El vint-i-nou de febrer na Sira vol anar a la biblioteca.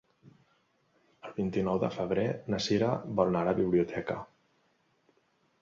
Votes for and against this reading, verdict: 1, 2, rejected